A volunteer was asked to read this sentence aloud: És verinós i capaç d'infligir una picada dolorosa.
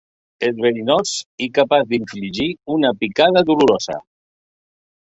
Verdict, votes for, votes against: rejected, 1, 2